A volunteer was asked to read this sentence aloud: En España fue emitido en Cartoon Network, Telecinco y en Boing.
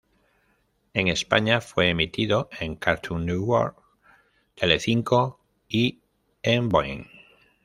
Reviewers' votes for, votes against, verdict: 0, 3, rejected